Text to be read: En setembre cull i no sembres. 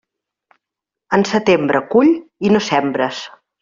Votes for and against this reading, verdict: 3, 0, accepted